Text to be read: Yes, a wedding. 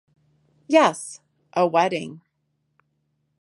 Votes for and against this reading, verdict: 3, 0, accepted